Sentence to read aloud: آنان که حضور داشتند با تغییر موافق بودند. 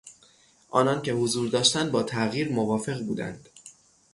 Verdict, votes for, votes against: accepted, 6, 0